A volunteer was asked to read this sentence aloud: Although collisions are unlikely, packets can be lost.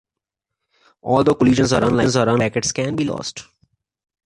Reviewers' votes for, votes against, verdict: 0, 2, rejected